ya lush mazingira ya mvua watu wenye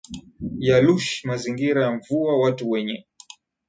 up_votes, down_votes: 7, 0